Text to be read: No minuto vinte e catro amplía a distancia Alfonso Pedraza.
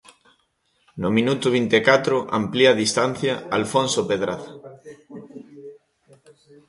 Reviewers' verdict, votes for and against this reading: accepted, 2, 1